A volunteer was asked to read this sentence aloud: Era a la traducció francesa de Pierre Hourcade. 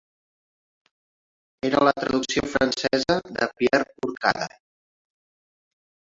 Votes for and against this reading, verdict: 2, 3, rejected